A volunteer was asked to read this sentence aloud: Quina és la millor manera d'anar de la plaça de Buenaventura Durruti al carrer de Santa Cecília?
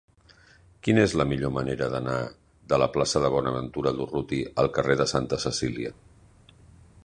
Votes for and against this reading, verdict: 0, 2, rejected